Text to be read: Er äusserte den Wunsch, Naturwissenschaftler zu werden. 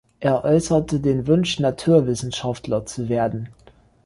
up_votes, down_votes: 2, 0